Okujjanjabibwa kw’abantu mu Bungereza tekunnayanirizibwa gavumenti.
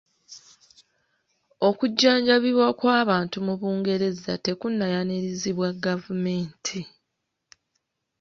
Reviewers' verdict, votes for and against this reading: accepted, 3, 0